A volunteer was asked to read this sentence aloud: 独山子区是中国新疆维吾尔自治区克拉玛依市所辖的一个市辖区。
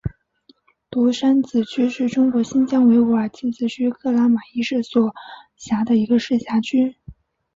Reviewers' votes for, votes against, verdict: 7, 0, accepted